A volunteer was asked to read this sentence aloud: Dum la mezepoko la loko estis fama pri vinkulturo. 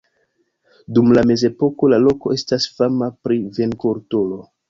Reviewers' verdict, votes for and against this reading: rejected, 0, 2